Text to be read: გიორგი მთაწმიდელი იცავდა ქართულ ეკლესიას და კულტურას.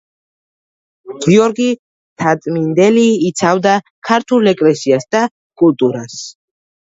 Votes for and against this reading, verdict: 1, 2, rejected